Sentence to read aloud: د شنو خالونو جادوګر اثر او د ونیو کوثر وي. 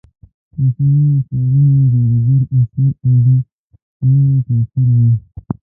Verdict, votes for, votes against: rejected, 1, 2